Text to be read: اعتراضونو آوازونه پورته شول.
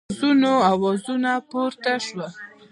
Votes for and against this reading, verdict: 2, 0, accepted